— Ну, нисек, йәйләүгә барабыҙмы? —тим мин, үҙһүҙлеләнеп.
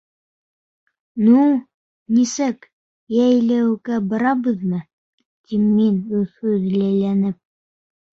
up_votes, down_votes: 1, 2